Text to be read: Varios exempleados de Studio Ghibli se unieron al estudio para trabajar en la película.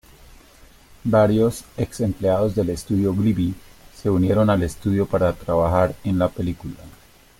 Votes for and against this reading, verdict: 1, 2, rejected